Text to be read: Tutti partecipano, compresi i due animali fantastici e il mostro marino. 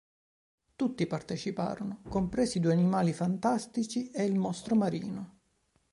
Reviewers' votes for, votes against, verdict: 0, 2, rejected